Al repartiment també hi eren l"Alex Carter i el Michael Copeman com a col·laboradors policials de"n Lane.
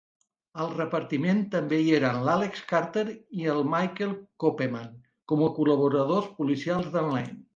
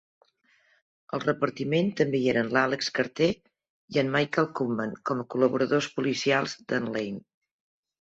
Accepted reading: first